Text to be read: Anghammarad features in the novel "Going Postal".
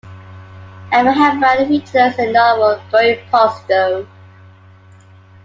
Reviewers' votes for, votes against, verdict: 2, 1, accepted